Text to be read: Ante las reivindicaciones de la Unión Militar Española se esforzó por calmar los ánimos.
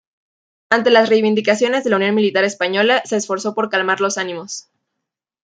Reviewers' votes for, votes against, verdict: 2, 0, accepted